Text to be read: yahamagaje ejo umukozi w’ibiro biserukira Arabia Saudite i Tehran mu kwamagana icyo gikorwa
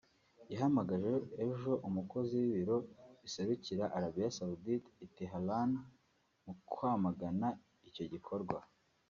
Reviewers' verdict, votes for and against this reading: rejected, 1, 2